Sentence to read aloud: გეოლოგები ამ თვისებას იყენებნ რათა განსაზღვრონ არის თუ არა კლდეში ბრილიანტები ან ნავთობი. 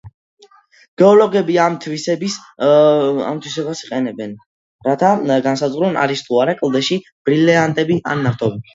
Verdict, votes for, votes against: rejected, 0, 2